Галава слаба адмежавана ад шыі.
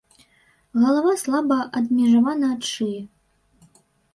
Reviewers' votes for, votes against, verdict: 2, 0, accepted